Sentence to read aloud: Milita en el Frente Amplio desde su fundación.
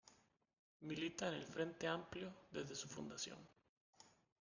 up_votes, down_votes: 0, 2